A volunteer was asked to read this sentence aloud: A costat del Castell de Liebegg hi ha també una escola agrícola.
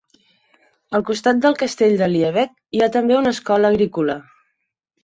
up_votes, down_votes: 4, 0